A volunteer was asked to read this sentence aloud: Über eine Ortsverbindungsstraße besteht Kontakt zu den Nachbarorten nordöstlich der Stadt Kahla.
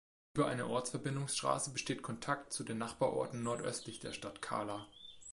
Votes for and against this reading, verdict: 2, 0, accepted